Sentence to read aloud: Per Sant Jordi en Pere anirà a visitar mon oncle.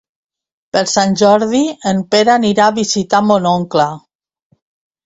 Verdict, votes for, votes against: accepted, 2, 0